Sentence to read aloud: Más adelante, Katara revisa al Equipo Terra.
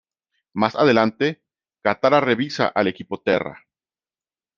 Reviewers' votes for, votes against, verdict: 2, 1, accepted